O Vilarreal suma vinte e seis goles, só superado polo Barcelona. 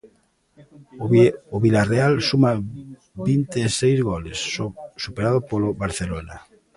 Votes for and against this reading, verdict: 0, 2, rejected